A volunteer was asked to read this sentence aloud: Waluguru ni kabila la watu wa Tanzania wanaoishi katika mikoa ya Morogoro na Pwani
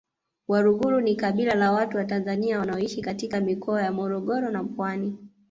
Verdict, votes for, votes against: accepted, 2, 0